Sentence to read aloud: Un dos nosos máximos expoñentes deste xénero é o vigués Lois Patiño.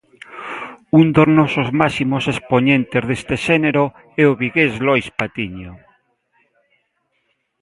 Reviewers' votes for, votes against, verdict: 3, 0, accepted